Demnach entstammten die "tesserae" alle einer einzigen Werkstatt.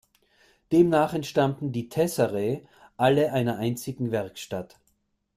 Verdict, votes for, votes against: accepted, 2, 0